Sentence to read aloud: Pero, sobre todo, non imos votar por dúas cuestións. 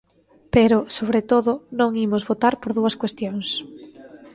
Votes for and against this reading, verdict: 2, 0, accepted